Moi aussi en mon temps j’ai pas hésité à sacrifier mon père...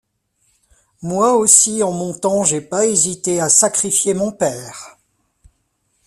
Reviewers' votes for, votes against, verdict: 2, 0, accepted